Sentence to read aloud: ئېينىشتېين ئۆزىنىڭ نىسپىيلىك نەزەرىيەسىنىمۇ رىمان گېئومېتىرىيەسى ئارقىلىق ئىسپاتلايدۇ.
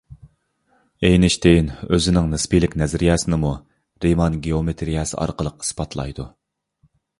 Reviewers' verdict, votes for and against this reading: accepted, 2, 0